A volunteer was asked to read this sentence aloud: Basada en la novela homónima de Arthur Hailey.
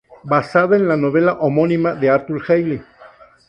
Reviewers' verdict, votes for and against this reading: rejected, 0, 2